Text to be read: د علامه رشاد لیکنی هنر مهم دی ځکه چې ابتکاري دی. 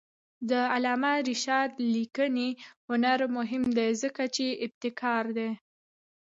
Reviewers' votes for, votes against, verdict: 1, 2, rejected